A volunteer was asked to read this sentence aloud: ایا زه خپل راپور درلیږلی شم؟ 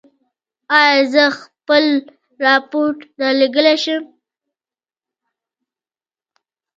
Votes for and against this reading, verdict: 2, 0, accepted